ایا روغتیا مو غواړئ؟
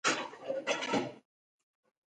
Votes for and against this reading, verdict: 0, 2, rejected